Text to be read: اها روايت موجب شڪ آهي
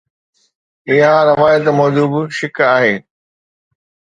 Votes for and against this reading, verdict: 2, 0, accepted